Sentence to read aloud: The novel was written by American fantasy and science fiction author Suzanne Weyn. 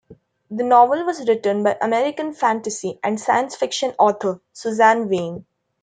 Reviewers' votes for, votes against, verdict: 2, 0, accepted